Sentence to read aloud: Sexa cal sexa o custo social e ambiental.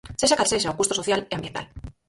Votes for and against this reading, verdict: 0, 4, rejected